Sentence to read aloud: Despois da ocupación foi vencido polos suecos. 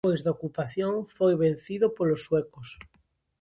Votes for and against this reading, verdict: 0, 2, rejected